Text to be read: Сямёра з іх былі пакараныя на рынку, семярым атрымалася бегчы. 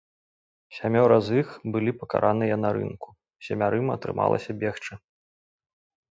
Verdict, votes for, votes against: accepted, 2, 0